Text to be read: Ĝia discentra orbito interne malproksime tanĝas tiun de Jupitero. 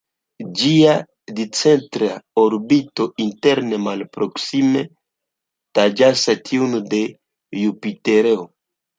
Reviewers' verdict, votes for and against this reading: rejected, 0, 2